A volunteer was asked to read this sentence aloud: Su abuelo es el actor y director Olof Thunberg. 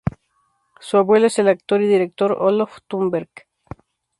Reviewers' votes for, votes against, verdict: 2, 0, accepted